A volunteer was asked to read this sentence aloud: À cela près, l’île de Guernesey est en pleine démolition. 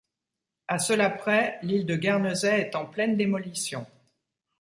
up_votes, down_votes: 2, 0